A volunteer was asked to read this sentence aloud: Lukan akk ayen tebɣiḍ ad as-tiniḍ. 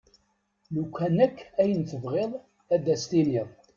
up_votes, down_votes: 2, 0